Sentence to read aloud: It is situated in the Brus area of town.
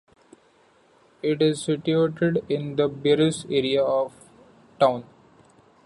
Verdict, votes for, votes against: rejected, 1, 2